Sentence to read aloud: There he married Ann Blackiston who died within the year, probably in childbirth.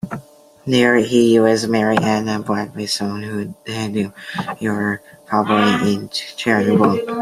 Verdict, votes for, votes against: rejected, 0, 2